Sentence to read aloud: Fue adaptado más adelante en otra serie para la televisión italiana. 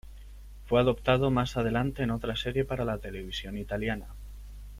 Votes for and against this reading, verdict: 1, 2, rejected